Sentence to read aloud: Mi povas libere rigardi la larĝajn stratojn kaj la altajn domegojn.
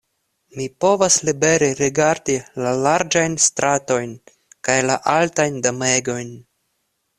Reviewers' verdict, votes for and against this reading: accepted, 2, 0